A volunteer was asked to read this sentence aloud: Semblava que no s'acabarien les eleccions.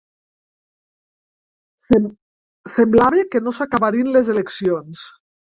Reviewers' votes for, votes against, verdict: 0, 3, rejected